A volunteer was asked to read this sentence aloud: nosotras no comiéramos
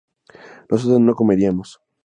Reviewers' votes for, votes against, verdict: 0, 2, rejected